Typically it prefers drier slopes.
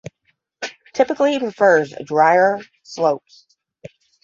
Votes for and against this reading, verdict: 0, 5, rejected